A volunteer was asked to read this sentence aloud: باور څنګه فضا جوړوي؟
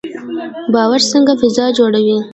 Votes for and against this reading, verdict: 0, 2, rejected